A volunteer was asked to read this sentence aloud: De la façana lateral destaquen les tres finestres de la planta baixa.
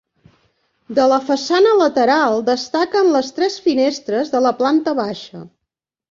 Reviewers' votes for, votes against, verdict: 3, 0, accepted